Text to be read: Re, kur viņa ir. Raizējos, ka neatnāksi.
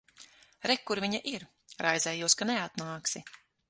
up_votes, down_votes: 6, 0